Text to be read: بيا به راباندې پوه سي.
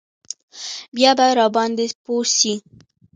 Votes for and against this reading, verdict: 0, 2, rejected